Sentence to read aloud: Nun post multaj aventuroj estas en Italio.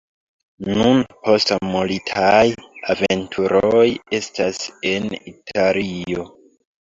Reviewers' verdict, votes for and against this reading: rejected, 1, 3